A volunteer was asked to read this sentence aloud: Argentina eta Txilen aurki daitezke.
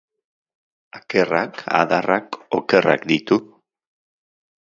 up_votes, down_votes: 0, 2